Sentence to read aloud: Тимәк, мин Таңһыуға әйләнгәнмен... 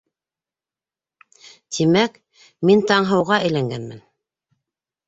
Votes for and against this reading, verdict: 2, 0, accepted